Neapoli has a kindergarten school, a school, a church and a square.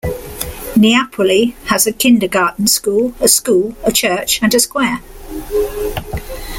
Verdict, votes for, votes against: accepted, 2, 0